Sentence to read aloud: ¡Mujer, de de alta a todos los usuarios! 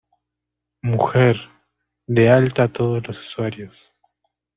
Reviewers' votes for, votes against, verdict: 0, 2, rejected